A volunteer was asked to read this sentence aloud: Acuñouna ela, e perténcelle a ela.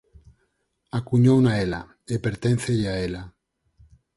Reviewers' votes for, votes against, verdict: 2, 4, rejected